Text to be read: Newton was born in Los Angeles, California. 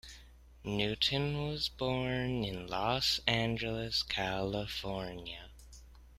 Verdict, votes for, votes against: rejected, 0, 2